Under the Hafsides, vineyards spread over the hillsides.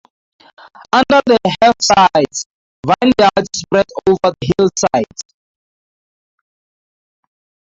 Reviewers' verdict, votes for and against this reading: accepted, 2, 0